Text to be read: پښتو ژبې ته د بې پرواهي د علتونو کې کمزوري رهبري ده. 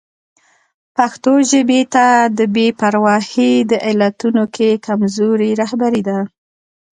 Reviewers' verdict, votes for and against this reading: rejected, 1, 2